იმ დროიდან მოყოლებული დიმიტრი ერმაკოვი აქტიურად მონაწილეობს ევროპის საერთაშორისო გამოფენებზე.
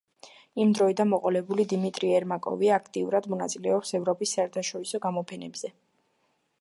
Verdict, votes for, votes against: accepted, 2, 0